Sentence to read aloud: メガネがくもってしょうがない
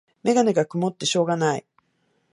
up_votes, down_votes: 2, 0